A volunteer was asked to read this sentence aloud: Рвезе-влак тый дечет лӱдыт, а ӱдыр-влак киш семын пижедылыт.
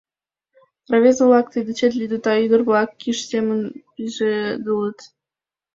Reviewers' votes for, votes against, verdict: 1, 2, rejected